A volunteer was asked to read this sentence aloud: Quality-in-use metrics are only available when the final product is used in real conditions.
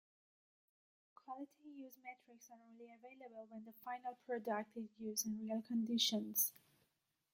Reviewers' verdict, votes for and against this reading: rejected, 0, 2